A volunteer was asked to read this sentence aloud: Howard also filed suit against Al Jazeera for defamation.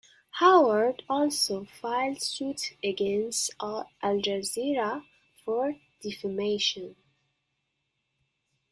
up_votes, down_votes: 0, 2